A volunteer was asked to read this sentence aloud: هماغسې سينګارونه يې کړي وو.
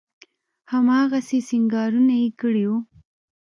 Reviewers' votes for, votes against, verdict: 2, 0, accepted